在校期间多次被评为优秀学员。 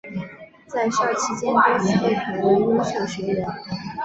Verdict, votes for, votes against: accepted, 3, 0